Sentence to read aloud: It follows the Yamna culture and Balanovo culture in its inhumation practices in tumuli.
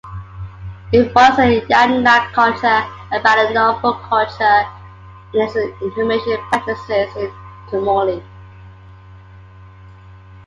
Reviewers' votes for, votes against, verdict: 2, 0, accepted